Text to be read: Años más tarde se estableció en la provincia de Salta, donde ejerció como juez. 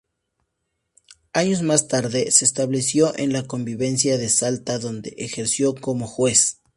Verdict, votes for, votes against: rejected, 0, 2